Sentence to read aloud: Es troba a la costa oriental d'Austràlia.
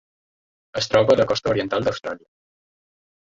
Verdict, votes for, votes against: accepted, 2, 0